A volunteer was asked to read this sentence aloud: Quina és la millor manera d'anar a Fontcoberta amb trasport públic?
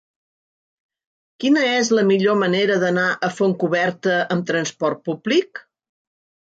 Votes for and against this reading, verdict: 3, 0, accepted